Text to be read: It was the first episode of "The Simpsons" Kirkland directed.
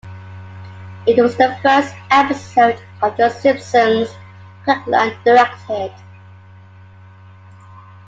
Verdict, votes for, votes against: accepted, 2, 1